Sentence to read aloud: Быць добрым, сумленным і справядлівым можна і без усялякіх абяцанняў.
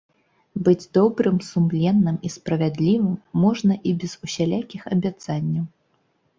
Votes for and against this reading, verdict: 2, 0, accepted